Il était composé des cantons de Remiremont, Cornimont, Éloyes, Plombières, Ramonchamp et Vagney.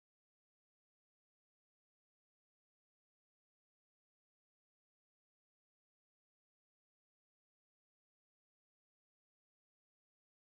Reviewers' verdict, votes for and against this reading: rejected, 0, 2